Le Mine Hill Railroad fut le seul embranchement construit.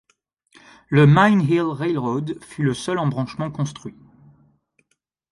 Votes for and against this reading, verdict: 2, 0, accepted